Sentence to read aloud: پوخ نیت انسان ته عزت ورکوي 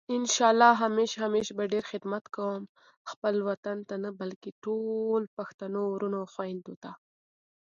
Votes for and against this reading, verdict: 2, 3, rejected